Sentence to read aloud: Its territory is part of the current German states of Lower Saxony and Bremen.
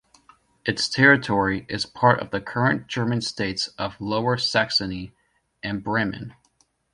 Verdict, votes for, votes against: accepted, 2, 0